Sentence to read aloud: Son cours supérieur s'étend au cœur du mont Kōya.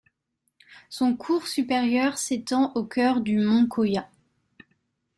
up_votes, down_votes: 2, 0